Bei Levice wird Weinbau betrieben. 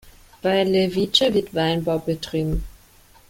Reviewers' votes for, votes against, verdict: 2, 1, accepted